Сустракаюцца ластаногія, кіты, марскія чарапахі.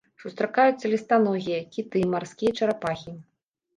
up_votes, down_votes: 0, 2